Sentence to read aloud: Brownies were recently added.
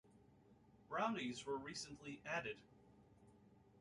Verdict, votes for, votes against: rejected, 1, 2